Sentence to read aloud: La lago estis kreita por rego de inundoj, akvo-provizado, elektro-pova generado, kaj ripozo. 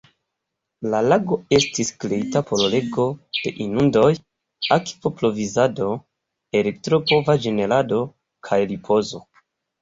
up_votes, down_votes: 0, 2